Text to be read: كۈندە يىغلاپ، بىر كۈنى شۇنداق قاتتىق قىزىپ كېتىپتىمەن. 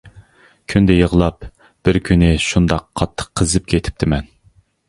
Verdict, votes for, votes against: accepted, 2, 0